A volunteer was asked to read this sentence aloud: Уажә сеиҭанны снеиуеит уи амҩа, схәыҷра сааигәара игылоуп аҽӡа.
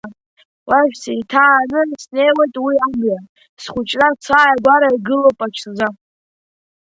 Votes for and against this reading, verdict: 0, 2, rejected